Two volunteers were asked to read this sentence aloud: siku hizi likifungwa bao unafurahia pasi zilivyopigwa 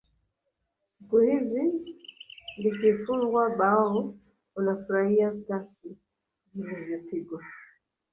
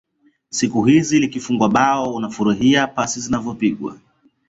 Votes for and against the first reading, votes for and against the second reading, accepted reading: 0, 2, 2, 1, second